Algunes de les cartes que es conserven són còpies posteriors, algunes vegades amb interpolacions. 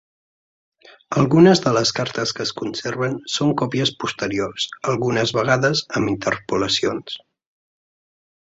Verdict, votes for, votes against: accepted, 2, 0